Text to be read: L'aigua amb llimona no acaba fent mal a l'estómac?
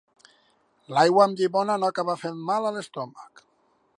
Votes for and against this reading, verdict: 2, 0, accepted